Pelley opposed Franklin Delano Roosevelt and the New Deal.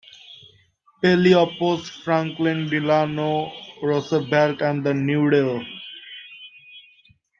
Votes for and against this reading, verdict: 2, 1, accepted